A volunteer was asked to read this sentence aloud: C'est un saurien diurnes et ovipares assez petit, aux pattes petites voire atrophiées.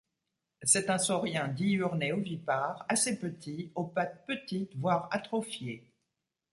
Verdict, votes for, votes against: accepted, 2, 0